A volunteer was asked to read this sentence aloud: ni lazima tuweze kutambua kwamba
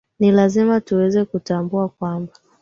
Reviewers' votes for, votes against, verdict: 11, 0, accepted